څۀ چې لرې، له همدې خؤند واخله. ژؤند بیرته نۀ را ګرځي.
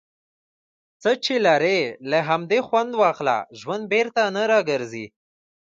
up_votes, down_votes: 2, 0